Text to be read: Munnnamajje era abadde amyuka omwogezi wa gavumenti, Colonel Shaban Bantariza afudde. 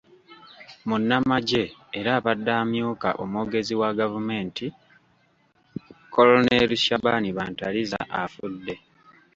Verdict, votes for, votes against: accepted, 2, 0